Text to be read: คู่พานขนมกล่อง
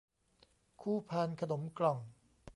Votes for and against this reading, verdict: 3, 0, accepted